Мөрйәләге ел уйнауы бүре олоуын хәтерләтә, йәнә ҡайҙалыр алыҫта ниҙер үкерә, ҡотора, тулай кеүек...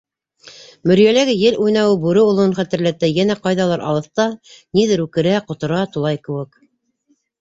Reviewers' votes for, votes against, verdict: 2, 1, accepted